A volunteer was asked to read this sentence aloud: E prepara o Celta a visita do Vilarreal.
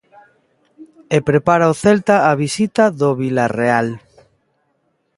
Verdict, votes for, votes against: accepted, 2, 1